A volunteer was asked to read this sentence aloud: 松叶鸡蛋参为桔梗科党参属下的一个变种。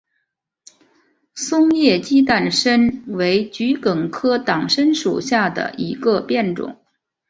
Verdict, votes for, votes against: accepted, 3, 0